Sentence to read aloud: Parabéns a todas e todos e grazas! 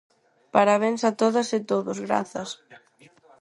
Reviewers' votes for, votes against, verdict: 0, 4, rejected